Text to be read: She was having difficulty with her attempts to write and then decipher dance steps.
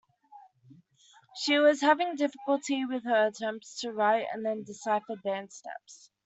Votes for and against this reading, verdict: 2, 1, accepted